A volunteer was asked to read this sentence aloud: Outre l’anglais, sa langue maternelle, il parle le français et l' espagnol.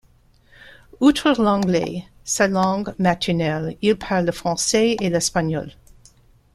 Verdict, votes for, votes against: rejected, 1, 2